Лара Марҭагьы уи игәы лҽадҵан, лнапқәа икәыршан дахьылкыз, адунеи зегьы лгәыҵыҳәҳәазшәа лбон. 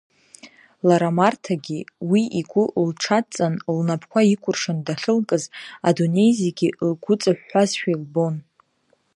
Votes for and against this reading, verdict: 2, 0, accepted